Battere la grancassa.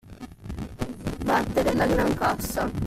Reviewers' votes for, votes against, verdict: 2, 1, accepted